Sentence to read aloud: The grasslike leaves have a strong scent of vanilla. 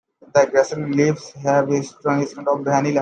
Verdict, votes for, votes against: rejected, 1, 2